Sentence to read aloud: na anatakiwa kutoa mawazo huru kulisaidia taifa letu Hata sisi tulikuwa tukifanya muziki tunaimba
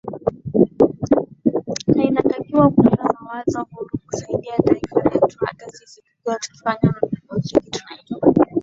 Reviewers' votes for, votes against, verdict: 4, 5, rejected